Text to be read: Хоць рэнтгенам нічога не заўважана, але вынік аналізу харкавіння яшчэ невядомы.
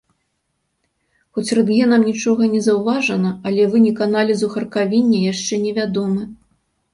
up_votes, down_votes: 2, 0